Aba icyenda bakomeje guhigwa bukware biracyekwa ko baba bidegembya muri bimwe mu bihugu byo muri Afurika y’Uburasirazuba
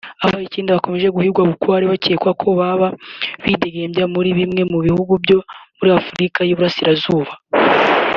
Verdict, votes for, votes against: accepted, 2, 0